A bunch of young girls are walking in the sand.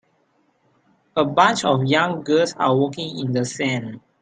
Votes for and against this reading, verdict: 2, 1, accepted